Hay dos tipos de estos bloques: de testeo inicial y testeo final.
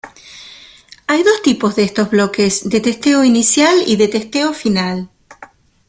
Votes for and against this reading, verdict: 1, 2, rejected